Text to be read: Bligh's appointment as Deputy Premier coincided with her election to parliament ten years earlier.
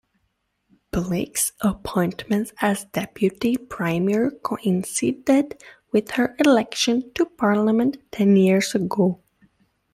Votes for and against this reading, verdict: 0, 2, rejected